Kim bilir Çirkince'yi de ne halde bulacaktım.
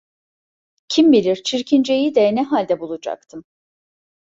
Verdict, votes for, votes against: accepted, 2, 0